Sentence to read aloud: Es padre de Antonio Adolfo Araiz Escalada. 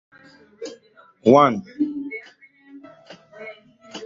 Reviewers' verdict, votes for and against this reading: rejected, 0, 2